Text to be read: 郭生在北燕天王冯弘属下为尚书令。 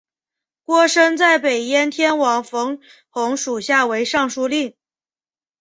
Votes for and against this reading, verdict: 4, 0, accepted